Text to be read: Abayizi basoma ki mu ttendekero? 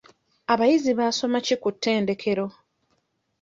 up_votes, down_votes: 1, 2